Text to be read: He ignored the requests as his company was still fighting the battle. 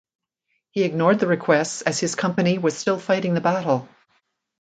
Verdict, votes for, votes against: accepted, 2, 0